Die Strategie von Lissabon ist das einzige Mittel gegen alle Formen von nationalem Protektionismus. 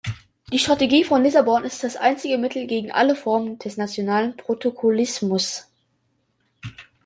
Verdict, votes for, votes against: rejected, 0, 2